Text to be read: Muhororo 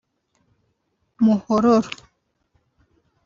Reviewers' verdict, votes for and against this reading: rejected, 1, 2